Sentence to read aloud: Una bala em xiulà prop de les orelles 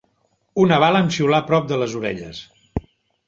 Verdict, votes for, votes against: accepted, 2, 0